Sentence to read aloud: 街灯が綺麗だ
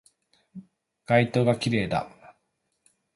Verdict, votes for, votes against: accepted, 2, 0